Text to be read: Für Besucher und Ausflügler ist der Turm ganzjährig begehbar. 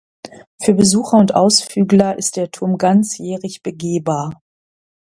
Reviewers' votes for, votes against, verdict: 2, 0, accepted